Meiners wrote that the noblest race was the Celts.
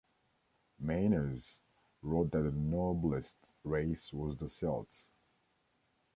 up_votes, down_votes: 1, 3